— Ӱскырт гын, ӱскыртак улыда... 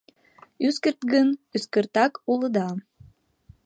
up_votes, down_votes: 2, 0